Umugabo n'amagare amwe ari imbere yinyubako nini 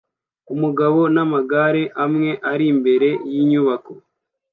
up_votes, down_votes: 0, 2